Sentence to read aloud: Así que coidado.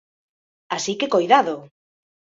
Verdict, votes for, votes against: accepted, 2, 1